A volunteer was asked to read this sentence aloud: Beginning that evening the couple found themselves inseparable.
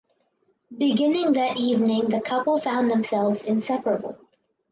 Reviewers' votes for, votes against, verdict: 4, 0, accepted